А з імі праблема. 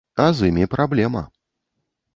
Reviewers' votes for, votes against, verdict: 1, 2, rejected